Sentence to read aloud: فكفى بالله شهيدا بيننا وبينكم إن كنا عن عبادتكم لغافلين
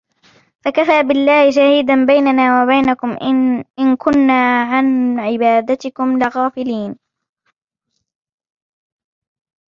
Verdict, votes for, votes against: rejected, 1, 2